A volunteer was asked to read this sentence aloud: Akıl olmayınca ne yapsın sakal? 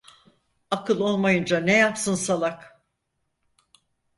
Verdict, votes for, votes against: rejected, 0, 4